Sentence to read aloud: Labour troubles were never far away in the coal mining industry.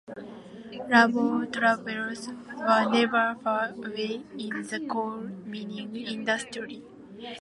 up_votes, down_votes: 2, 1